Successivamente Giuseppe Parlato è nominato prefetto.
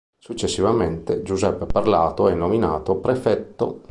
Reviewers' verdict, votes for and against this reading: accepted, 2, 0